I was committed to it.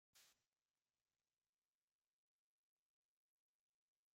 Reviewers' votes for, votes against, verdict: 0, 2, rejected